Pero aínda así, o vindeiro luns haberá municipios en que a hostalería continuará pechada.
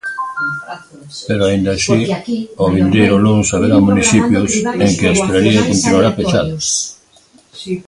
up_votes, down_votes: 0, 2